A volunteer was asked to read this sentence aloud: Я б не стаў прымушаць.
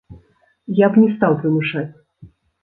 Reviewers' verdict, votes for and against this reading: rejected, 1, 2